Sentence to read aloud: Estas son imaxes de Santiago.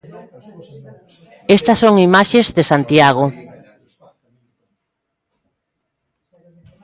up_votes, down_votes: 1, 2